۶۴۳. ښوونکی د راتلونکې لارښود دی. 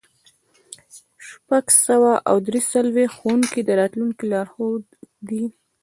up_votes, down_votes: 0, 2